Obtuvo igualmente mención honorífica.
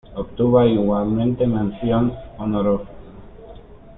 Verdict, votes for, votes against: rejected, 0, 2